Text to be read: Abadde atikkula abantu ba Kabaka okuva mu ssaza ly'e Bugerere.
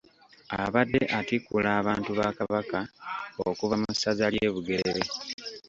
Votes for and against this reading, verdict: 2, 0, accepted